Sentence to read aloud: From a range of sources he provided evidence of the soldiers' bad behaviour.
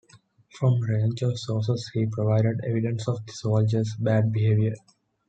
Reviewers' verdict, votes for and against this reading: accepted, 2, 0